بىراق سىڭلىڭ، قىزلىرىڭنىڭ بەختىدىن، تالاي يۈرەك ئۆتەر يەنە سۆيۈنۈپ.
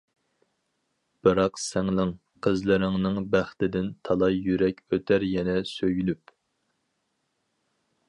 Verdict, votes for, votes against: accepted, 4, 0